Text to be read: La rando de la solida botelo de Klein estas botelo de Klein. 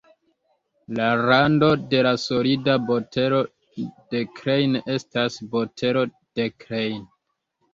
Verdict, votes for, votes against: rejected, 0, 2